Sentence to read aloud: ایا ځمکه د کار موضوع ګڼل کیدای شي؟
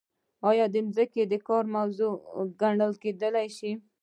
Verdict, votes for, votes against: rejected, 1, 2